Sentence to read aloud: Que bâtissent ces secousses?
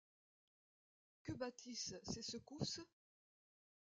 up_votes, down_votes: 0, 2